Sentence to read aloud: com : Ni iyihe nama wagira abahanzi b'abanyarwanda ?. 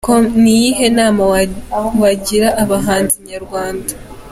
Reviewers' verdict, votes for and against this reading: accepted, 2, 0